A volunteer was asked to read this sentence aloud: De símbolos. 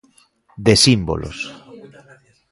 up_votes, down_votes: 2, 0